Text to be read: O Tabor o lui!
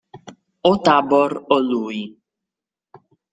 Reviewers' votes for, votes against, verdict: 2, 0, accepted